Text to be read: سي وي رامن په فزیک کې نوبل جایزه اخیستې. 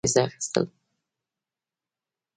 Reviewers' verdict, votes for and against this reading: rejected, 1, 2